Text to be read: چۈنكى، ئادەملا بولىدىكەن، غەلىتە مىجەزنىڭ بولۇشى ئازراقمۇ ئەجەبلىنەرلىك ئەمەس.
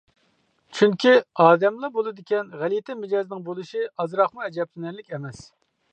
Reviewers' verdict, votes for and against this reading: accepted, 2, 0